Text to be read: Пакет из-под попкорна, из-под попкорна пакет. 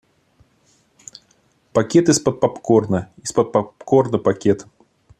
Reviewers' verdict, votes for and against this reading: accepted, 2, 0